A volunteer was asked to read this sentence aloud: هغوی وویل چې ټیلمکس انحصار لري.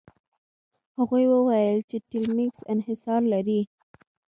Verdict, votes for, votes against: accepted, 2, 0